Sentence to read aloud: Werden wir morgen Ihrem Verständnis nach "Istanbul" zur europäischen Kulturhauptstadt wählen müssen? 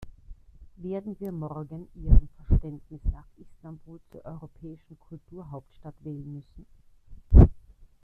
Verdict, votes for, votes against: rejected, 1, 2